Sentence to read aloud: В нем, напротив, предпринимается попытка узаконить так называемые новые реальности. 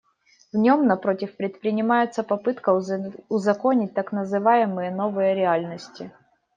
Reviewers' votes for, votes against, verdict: 2, 0, accepted